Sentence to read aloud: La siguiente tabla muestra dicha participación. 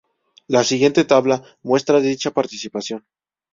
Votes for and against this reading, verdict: 2, 0, accepted